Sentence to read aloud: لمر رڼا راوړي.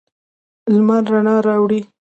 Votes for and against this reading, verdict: 2, 0, accepted